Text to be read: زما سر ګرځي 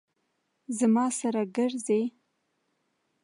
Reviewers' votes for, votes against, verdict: 2, 0, accepted